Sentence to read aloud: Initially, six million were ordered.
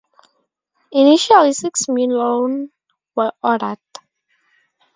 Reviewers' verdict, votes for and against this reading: rejected, 2, 2